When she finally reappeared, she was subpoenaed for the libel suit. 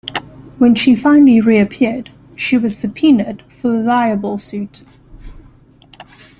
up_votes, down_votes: 1, 2